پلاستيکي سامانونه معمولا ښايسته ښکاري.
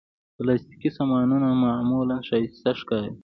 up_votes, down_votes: 1, 2